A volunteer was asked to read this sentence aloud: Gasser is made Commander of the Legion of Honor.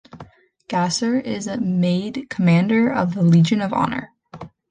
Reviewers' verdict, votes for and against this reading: accepted, 2, 1